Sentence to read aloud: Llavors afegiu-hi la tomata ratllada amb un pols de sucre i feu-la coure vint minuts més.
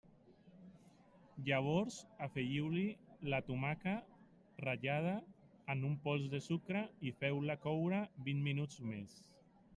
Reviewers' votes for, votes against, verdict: 0, 2, rejected